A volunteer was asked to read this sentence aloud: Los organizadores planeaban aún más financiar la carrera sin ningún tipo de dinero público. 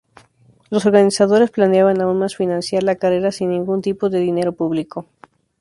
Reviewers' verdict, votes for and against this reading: accepted, 2, 0